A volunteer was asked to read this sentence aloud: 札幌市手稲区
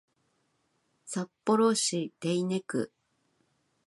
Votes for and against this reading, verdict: 2, 0, accepted